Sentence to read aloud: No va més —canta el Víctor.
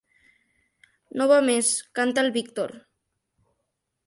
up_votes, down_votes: 3, 0